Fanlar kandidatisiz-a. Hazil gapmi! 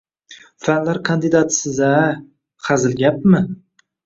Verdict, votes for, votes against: accepted, 2, 0